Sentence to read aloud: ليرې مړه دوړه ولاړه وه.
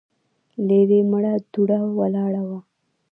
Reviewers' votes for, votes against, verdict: 2, 1, accepted